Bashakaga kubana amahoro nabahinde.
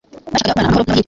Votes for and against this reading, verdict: 1, 2, rejected